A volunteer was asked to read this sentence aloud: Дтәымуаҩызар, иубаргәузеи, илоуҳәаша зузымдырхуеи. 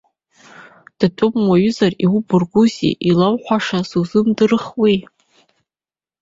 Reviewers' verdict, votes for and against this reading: rejected, 1, 2